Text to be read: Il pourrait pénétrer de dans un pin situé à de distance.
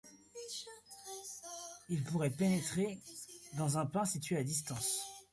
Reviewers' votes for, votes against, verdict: 0, 2, rejected